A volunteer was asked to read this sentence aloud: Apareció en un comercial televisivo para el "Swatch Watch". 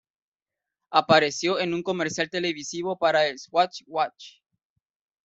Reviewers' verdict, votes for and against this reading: rejected, 0, 2